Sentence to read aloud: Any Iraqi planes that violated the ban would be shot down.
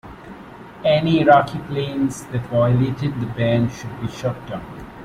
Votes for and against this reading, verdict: 1, 2, rejected